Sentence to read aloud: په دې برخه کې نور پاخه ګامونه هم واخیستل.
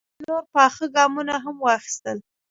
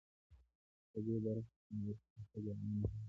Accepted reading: first